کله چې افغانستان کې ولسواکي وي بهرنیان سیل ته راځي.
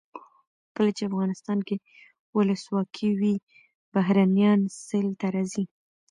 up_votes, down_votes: 0, 2